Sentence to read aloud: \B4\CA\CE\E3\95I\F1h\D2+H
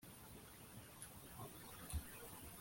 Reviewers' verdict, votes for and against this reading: rejected, 0, 2